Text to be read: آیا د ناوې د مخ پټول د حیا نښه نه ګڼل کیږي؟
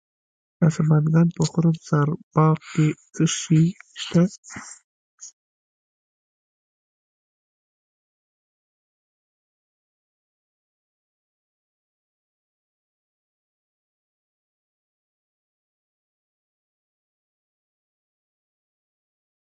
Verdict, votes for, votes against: rejected, 0, 2